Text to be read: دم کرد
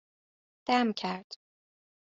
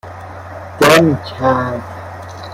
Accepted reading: first